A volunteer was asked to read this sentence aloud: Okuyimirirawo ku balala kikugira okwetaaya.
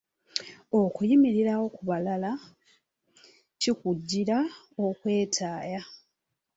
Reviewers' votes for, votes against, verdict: 1, 2, rejected